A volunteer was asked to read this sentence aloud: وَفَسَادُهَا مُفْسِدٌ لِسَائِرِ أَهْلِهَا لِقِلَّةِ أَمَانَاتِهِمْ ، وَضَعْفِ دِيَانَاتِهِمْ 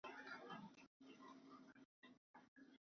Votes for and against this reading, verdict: 0, 2, rejected